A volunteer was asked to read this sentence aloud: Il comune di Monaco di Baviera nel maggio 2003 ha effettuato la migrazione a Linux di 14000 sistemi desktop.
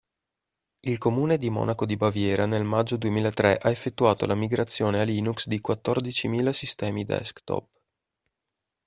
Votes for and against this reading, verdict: 0, 2, rejected